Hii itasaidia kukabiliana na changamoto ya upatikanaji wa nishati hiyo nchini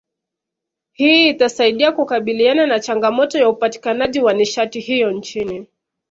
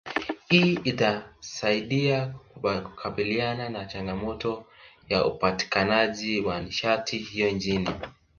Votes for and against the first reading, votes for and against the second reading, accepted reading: 2, 0, 0, 2, first